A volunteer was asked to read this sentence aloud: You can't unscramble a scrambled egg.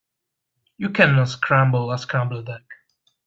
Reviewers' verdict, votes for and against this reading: rejected, 1, 2